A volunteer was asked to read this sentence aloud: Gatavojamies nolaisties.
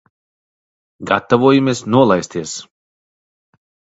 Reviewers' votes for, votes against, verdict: 1, 2, rejected